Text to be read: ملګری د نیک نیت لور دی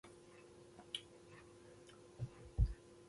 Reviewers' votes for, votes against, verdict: 0, 2, rejected